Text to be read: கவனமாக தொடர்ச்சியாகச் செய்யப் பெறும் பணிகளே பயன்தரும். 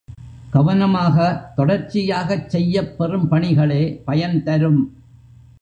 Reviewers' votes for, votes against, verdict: 0, 2, rejected